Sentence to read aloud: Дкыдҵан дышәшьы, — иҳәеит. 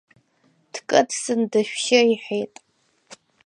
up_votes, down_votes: 2, 0